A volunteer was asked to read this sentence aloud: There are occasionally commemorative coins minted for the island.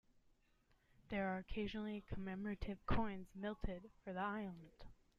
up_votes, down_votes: 2, 0